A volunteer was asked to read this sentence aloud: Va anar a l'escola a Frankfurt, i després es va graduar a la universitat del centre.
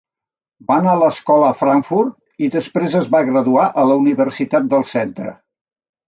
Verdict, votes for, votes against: accepted, 3, 0